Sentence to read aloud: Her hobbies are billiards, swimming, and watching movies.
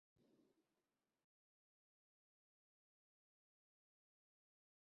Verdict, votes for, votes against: rejected, 0, 2